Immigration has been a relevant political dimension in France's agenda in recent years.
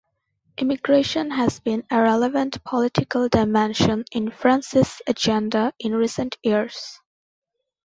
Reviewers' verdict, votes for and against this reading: accepted, 2, 0